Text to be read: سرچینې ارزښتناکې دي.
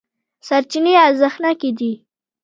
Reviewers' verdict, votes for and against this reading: rejected, 1, 2